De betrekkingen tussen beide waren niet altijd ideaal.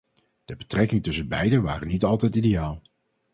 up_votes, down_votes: 0, 2